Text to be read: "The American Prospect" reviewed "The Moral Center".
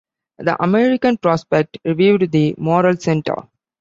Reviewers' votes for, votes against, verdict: 2, 0, accepted